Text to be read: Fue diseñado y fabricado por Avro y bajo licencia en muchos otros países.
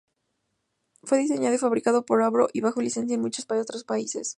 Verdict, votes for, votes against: accepted, 2, 0